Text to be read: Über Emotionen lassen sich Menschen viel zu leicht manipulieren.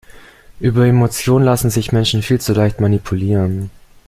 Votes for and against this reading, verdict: 1, 2, rejected